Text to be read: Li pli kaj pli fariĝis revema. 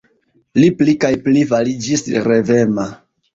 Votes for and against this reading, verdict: 1, 2, rejected